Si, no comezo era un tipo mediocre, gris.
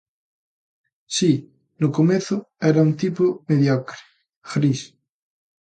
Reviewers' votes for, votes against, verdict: 2, 0, accepted